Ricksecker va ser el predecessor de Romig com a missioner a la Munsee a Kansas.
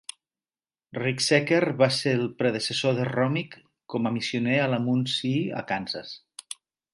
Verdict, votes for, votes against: accepted, 4, 0